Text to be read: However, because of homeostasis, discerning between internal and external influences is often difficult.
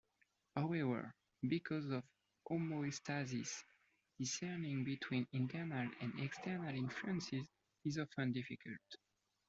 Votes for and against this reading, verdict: 2, 1, accepted